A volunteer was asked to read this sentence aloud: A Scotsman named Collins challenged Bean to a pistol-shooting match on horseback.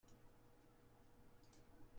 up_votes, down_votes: 0, 2